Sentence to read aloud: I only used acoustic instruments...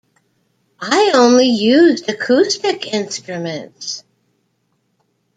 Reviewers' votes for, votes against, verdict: 2, 0, accepted